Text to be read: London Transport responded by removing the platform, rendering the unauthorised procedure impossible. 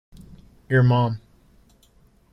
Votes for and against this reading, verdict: 0, 2, rejected